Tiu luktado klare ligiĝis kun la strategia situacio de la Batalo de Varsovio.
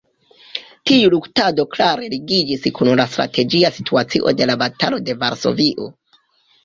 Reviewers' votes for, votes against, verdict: 1, 2, rejected